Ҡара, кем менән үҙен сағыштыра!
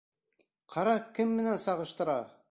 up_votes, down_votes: 1, 2